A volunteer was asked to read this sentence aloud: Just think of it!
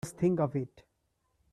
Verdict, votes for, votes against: rejected, 1, 2